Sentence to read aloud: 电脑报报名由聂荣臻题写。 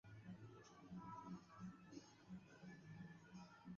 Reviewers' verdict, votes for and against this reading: rejected, 1, 4